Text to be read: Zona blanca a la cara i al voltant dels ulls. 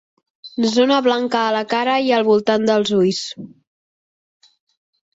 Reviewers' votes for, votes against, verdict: 3, 0, accepted